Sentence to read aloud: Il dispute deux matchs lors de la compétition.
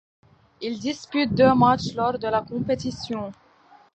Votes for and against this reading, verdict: 2, 1, accepted